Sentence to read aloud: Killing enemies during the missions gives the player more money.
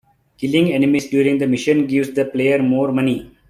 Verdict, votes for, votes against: rejected, 1, 2